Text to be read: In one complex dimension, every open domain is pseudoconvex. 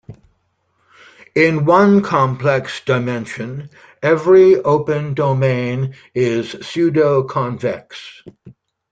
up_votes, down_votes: 2, 0